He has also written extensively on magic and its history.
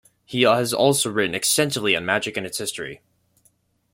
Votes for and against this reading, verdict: 2, 0, accepted